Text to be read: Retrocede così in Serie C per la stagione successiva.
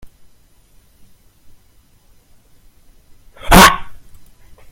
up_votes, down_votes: 0, 2